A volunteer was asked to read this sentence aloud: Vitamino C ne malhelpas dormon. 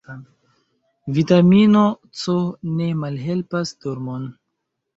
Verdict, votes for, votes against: accepted, 2, 0